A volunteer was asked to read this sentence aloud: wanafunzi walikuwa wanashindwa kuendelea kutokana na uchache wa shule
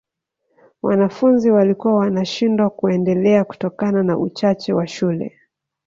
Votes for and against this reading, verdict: 2, 0, accepted